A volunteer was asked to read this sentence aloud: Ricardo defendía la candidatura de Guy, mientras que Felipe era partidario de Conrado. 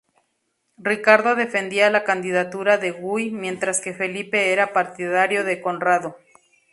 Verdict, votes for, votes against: accepted, 4, 0